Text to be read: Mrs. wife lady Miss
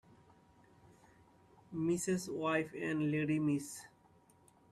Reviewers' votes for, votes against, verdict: 0, 2, rejected